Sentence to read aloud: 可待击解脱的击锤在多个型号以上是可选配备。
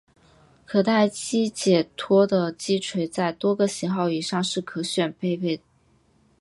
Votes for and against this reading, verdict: 4, 0, accepted